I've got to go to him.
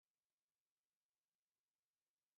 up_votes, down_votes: 0, 2